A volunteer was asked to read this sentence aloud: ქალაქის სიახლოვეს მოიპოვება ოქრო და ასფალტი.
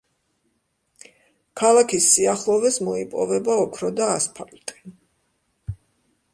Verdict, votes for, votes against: accepted, 2, 1